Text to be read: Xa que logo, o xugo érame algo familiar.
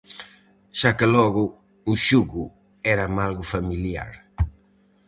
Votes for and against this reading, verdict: 4, 0, accepted